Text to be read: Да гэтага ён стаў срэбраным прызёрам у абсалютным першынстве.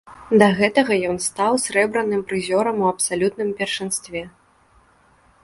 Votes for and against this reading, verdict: 2, 0, accepted